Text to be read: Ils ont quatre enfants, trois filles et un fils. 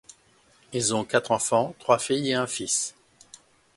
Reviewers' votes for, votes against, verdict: 2, 0, accepted